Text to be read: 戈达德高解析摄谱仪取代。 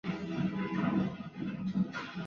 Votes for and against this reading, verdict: 0, 4, rejected